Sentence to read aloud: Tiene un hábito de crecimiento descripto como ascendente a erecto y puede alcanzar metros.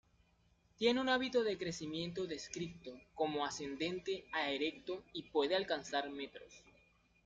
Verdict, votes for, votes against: accepted, 2, 0